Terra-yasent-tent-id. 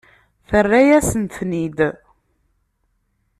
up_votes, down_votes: 0, 2